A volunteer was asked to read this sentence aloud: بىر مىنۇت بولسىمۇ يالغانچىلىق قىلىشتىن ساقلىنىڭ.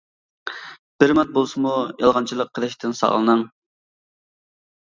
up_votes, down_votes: 2, 0